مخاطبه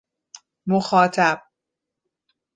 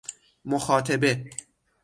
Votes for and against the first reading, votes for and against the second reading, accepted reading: 1, 2, 6, 0, second